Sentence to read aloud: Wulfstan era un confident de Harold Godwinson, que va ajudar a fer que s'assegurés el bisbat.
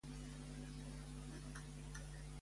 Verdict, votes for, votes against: rejected, 0, 2